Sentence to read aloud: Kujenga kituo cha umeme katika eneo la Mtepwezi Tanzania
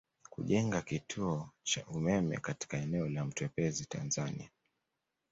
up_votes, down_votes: 2, 0